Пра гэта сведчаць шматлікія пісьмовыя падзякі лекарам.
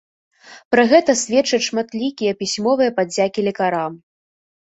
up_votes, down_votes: 1, 2